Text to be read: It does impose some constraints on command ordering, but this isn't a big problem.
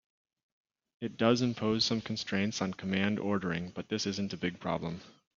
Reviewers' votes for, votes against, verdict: 3, 0, accepted